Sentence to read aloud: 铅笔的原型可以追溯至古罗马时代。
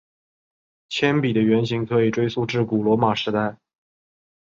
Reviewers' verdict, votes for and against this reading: accepted, 2, 0